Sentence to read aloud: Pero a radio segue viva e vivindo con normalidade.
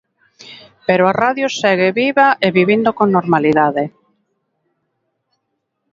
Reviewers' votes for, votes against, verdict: 1, 2, rejected